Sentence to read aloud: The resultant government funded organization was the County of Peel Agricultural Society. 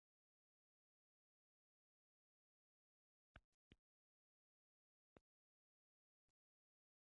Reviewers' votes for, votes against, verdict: 0, 2, rejected